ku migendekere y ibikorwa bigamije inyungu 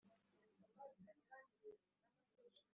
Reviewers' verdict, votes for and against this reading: rejected, 0, 2